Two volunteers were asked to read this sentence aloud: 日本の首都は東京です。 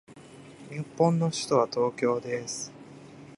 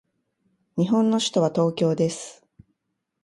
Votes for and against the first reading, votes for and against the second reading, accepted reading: 2, 0, 0, 2, first